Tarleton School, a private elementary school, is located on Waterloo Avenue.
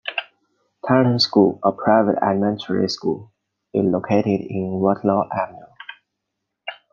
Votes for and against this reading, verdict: 2, 0, accepted